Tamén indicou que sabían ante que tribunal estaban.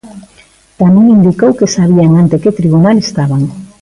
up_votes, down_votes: 1, 2